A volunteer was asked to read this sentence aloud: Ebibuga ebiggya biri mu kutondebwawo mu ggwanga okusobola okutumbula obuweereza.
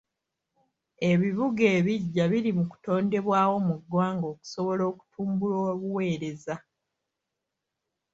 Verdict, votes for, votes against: accepted, 2, 0